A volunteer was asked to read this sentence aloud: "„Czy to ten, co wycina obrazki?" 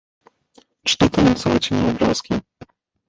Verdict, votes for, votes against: rejected, 1, 2